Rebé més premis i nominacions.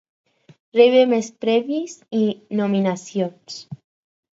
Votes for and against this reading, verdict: 4, 2, accepted